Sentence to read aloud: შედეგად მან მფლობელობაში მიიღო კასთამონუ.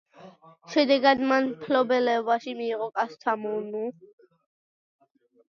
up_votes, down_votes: 1, 2